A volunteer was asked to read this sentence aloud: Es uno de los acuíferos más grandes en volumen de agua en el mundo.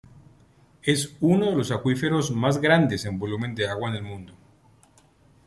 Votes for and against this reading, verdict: 2, 0, accepted